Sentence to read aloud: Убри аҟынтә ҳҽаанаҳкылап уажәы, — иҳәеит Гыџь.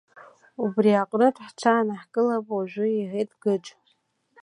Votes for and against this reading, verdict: 2, 1, accepted